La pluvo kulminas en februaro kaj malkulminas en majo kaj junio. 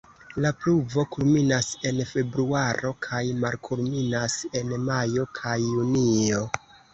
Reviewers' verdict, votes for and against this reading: accepted, 2, 0